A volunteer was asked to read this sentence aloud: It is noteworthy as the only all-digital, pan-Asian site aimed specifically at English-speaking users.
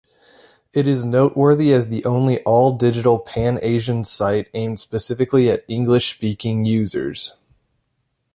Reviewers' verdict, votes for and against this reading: accepted, 2, 0